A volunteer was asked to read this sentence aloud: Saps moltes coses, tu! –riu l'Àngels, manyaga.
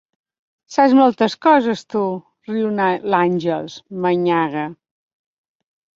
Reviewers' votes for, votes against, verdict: 0, 2, rejected